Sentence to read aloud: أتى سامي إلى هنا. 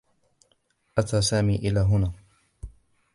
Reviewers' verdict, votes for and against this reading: accepted, 2, 0